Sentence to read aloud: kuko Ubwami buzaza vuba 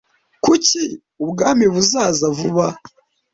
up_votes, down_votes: 0, 2